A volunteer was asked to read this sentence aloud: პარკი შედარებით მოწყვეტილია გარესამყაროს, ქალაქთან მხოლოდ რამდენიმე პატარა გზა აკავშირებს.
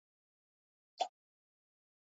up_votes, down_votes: 0, 2